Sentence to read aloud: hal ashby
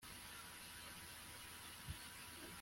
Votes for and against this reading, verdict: 0, 2, rejected